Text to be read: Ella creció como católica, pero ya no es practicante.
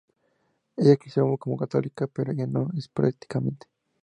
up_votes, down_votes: 2, 0